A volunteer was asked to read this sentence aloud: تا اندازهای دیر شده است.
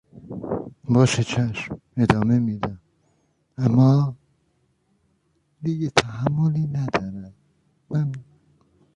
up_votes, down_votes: 0, 2